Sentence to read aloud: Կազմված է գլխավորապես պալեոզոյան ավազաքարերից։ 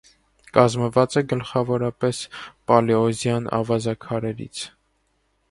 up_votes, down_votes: 0, 2